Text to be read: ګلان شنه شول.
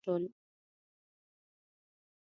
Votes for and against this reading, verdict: 0, 2, rejected